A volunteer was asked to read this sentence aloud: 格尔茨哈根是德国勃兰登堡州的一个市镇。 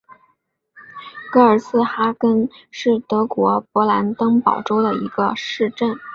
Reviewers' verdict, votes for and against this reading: accepted, 4, 1